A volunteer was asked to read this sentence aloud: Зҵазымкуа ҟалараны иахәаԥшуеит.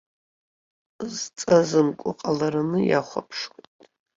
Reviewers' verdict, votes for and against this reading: rejected, 0, 2